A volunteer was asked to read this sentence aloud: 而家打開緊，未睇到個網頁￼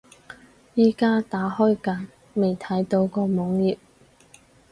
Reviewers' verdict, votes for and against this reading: rejected, 0, 4